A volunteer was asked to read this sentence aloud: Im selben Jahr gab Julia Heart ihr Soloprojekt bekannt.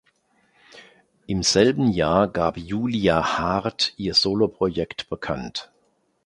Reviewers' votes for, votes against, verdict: 2, 0, accepted